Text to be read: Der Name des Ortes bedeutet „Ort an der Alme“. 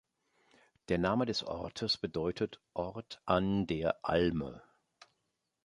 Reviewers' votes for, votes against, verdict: 2, 0, accepted